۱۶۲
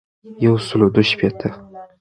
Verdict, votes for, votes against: rejected, 0, 2